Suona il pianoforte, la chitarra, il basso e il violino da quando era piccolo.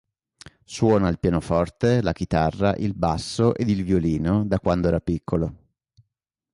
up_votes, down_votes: 1, 2